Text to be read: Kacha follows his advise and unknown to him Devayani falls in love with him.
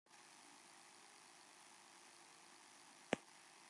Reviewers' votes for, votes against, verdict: 0, 2, rejected